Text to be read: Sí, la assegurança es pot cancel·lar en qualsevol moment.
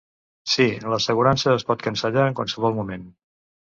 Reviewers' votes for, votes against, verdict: 1, 2, rejected